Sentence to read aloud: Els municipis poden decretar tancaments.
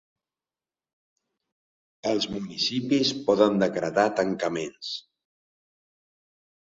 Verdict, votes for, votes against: accepted, 3, 0